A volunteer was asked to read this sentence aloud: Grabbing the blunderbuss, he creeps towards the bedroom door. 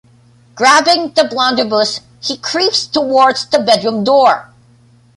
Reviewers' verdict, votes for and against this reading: rejected, 1, 2